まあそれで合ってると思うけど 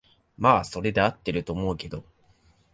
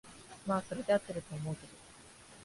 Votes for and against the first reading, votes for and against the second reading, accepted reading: 2, 0, 0, 2, first